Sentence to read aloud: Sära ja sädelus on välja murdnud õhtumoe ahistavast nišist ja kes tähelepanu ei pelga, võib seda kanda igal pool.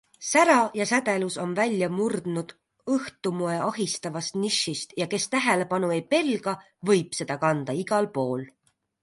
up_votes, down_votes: 2, 0